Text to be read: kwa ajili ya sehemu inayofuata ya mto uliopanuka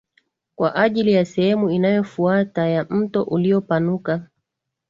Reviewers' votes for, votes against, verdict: 3, 0, accepted